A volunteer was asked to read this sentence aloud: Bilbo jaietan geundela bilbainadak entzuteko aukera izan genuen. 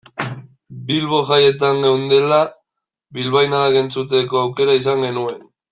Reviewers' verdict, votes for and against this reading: accepted, 2, 1